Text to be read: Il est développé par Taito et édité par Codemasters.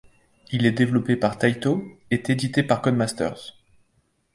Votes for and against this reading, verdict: 1, 2, rejected